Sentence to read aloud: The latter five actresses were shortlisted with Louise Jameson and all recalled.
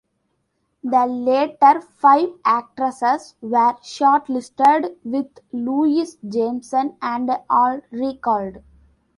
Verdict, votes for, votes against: rejected, 1, 2